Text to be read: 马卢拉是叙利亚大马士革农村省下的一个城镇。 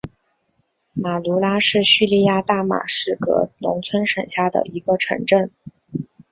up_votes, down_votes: 2, 3